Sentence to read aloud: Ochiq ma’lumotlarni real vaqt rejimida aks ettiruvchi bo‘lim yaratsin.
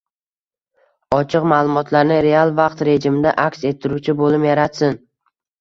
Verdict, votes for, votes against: accepted, 2, 1